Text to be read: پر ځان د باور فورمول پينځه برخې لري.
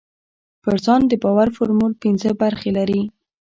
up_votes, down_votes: 2, 1